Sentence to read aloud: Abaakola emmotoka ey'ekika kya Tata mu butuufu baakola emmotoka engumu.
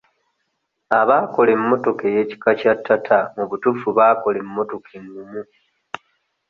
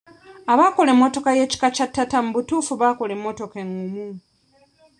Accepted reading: first